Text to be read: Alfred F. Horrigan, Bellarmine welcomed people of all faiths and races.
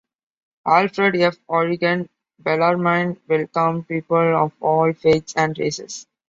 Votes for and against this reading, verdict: 2, 0, accepted